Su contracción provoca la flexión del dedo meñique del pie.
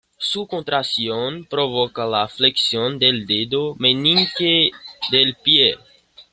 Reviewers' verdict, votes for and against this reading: rejected, 1, 2